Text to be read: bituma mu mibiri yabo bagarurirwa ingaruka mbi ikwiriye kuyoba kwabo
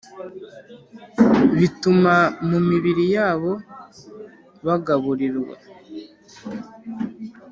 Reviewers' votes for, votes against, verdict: 1, 2, rejected